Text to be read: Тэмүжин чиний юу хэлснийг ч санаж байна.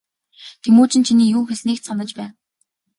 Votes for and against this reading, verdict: 2, 0, accepted